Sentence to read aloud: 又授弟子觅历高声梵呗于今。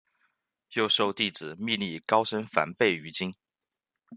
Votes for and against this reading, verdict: 2, 1, accepted